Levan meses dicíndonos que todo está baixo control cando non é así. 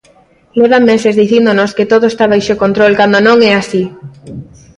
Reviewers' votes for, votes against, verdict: 2, 0, accepted